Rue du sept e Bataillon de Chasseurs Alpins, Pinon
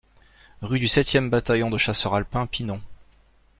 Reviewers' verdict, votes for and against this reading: accepted, 2, 0